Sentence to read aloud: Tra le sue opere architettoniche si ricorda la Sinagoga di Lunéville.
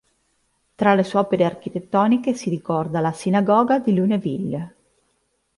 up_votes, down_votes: 2, 0